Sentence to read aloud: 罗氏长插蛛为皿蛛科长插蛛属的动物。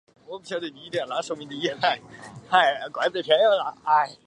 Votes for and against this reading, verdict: 0, 2, rejected